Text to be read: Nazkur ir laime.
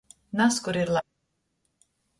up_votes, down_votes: 0, 2